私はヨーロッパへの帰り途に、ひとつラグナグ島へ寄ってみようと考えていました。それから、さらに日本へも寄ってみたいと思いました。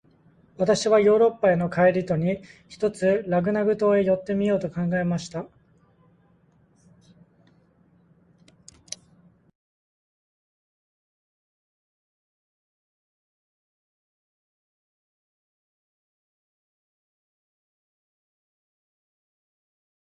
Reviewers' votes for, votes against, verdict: 0, 2, rejected